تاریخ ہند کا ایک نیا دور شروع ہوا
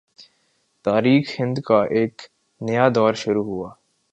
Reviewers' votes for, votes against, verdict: 8, 0, accepted